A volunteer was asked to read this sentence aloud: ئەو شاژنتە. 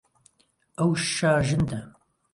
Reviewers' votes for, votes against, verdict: 0, 2, rejected